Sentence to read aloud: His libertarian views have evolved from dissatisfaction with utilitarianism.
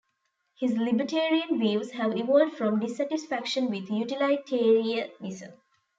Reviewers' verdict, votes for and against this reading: rejected, 1, 2